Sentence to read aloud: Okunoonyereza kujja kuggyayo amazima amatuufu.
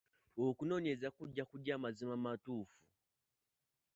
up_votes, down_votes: 1, 2